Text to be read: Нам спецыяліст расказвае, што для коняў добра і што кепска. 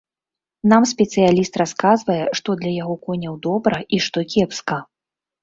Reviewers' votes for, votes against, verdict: 1, 2, rejected